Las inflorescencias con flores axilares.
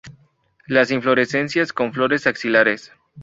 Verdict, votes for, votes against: accepted, 2, 0